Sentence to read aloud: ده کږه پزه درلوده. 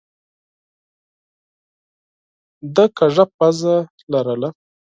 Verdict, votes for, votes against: rejected, 0, 6